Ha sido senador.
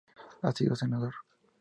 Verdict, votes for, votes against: accepted, 2, 0